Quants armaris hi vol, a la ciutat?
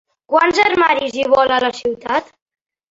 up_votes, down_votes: 3, 1